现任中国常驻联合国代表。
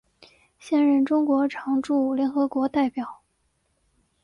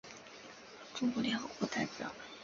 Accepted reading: first